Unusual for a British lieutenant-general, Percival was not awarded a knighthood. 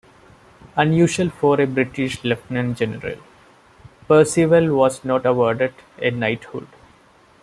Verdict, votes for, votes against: rejected, 0, 2